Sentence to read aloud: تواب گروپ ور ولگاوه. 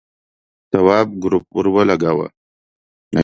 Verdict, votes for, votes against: accepted, 2, 0